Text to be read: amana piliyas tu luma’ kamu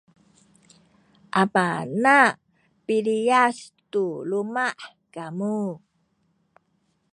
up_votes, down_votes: 0, 2